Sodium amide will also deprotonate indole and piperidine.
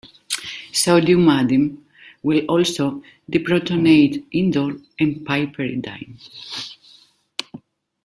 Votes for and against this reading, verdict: 2, 1, accepted